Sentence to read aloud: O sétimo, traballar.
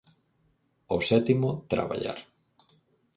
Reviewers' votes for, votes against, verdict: 4, 0, accepted